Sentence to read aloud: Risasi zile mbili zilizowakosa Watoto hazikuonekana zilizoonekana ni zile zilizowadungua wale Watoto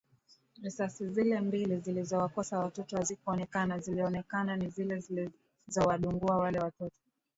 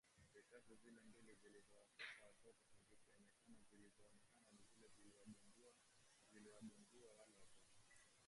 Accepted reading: first